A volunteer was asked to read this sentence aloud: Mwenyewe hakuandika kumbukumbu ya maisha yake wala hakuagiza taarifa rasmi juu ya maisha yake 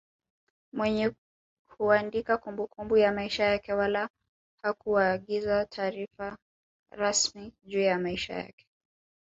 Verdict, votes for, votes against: rejected, 0, 2